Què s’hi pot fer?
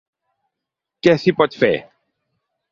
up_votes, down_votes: 3, 0